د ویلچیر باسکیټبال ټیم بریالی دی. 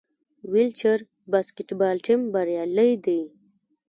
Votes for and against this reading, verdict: 0, 2, rejected